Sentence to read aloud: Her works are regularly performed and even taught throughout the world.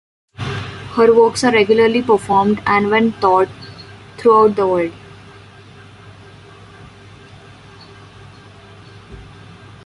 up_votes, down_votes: 0, 2